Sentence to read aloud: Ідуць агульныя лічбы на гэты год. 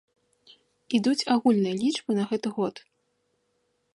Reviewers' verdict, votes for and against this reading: accepted, 2, 0